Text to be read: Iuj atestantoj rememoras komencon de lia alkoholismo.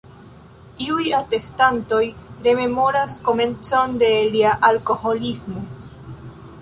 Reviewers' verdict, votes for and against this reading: rejected, 0, 2